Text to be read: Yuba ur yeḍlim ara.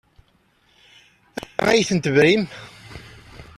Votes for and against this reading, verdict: 0, 4, rejected